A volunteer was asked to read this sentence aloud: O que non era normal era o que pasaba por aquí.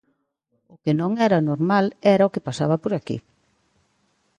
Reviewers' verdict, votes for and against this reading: accepted, 2, 0